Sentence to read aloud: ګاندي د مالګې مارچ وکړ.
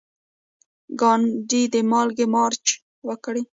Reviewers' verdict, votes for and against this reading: accepted, 2, 1